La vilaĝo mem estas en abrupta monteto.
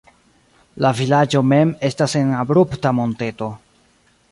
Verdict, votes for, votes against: accepted, 2, 0